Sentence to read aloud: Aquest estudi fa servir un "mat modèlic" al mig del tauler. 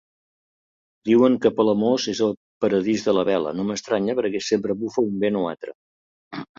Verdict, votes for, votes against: rejected, 0, 2